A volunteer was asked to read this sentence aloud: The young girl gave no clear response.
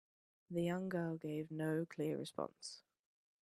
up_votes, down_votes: 3, 0